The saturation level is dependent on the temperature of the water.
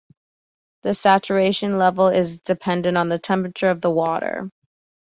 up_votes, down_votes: 2, 0